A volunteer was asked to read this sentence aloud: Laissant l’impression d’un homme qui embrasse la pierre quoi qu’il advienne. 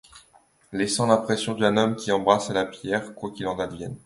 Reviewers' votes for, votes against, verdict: 0, 2, rejected